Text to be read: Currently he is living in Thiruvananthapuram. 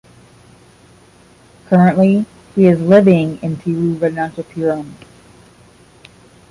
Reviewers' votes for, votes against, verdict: 5, 0, accepted